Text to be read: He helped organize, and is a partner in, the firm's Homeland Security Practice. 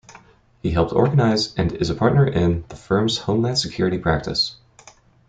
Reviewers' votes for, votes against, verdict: 2, 0, accepted